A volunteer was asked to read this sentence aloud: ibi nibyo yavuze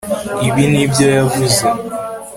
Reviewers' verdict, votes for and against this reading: accepted, 2, 0